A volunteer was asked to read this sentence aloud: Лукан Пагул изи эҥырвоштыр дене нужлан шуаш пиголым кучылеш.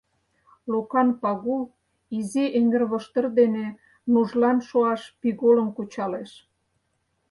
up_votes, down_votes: 0, 4